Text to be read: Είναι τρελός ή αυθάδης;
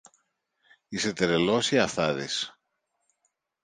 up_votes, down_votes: 0, 2